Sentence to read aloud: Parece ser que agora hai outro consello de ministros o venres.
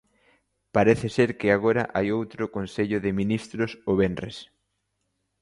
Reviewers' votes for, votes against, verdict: 2, 0, accepted